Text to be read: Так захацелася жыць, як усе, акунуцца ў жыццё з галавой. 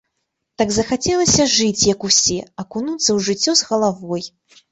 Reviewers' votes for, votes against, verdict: 1, 2, rejected